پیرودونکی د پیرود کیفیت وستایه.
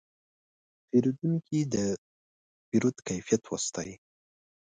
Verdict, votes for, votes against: rejected, 0, 2